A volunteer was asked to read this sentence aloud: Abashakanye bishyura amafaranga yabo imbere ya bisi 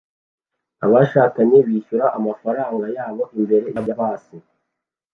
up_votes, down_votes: 2, 0